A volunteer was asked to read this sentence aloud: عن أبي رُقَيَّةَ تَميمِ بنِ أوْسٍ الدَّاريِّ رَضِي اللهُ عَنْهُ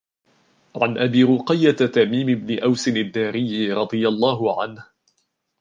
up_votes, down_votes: 2, 0